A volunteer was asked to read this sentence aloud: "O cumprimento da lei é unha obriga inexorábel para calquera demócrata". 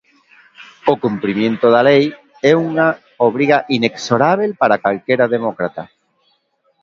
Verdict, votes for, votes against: rejected, 0, 2